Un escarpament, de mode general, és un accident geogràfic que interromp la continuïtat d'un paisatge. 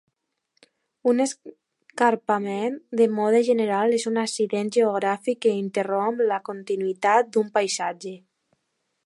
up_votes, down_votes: 1, 2